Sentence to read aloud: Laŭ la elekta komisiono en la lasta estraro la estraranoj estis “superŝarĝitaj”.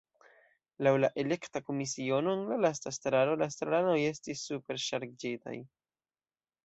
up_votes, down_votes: 1, 2